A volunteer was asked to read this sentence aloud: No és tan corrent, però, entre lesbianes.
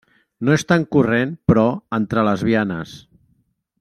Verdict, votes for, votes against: accepted, 2, 0